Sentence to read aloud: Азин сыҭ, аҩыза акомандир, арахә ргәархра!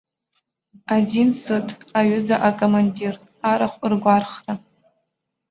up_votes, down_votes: 2, 0